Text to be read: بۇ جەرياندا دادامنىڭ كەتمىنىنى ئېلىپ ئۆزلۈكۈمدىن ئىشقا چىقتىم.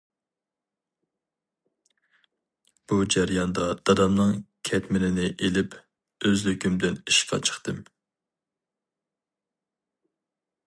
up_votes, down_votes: 2, 0